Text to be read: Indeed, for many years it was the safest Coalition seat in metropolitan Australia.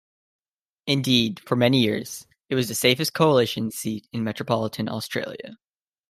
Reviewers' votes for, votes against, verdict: 2, 0, accepted